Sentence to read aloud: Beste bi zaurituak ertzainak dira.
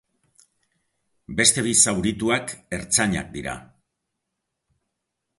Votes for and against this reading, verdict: 2, 0, accepted